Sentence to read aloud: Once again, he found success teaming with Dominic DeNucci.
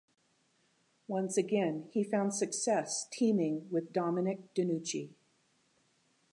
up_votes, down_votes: 2, 0